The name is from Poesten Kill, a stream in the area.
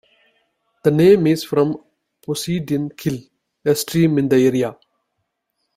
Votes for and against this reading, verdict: 0, 2, rejected